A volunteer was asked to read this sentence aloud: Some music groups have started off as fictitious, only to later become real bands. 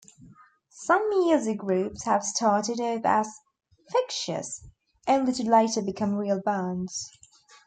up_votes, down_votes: 1, 2